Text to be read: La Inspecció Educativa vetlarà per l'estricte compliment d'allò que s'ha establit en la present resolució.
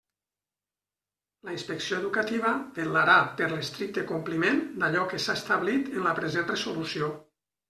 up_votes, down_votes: 0, 2